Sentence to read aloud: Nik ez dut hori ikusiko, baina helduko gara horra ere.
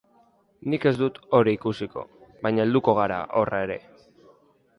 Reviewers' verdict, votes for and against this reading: accepted, 3, 1